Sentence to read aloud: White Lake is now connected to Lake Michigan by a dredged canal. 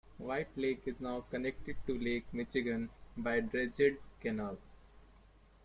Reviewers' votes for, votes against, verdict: 1, 2, rejected